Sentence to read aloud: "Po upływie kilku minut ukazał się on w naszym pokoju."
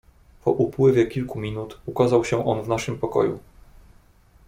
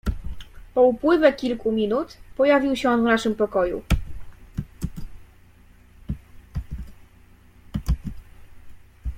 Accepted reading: first